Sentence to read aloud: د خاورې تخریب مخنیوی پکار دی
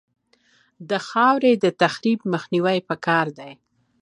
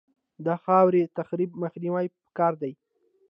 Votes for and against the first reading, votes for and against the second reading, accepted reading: 2, 1, 1, 2, first